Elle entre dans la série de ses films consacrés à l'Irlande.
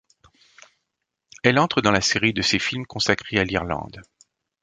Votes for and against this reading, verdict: 2, 0, accepted